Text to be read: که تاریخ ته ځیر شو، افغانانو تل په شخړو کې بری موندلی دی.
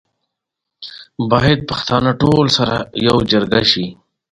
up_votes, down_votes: 1, 2